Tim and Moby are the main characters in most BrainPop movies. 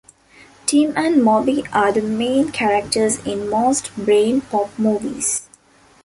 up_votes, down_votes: 3, 0